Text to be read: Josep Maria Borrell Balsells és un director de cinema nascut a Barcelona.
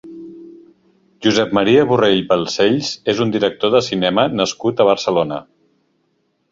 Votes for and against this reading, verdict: 2, 0, accepted